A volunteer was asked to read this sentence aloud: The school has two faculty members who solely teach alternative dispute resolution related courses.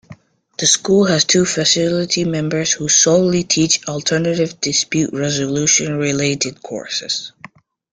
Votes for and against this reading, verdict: 0, 2, rejected